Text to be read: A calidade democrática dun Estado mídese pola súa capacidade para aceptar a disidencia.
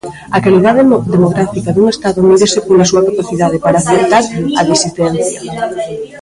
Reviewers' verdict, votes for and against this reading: rejected, 1, 2